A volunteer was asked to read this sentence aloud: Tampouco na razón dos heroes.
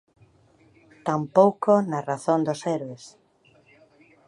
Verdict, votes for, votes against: rejected, 0, 2